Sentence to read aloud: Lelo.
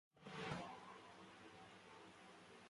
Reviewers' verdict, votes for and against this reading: rejected, 1, 2